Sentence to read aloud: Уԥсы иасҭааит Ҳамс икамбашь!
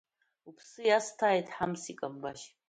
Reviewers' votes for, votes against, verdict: 2, 0, accepted